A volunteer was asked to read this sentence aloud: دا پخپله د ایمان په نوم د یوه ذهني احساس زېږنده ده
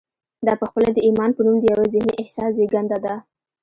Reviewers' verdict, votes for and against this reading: rejected, 1, 2